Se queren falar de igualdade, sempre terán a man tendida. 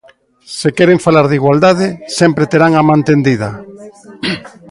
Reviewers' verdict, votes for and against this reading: rejected, 1, 2